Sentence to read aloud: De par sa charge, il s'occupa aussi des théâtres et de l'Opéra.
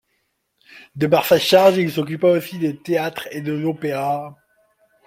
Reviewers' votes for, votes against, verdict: 2, 0, accepted